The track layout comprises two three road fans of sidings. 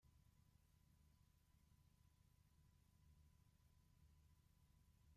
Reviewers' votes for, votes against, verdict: 0, 2, rejected